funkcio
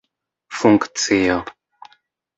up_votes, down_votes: 2, 0